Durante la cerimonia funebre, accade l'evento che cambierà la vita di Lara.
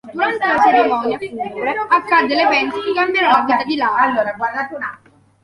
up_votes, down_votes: 0, 2